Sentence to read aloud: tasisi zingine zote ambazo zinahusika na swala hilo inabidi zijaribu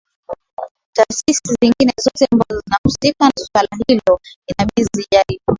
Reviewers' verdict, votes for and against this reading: rejected, 1, 2